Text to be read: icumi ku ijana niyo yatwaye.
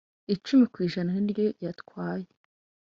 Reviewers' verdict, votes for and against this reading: accepted, 2, 0